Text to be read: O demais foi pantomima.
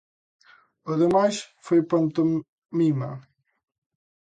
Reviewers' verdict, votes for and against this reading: rejected, 0, 2